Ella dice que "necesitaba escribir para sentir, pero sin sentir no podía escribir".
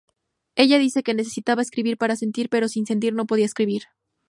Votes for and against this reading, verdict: 2, 0, accepted